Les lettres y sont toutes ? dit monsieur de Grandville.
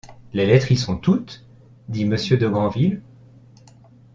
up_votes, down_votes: 2, 0